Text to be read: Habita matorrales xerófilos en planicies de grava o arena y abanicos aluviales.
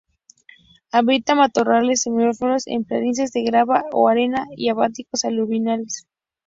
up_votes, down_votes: 0, 2